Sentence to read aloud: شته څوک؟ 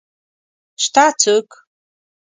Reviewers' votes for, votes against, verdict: 2, 0, accepted